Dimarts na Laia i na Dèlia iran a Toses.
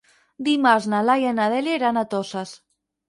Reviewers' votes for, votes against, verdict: 0, 4, rejected